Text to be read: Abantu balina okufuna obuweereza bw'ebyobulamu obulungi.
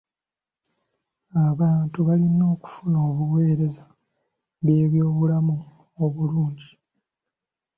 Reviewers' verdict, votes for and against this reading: accepted, 2, 0